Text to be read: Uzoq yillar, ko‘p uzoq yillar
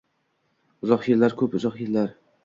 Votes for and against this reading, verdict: 2, 0, accepted